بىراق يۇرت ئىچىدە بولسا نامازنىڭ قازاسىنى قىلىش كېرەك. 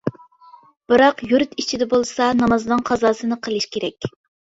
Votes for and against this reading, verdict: 3, 0, accepted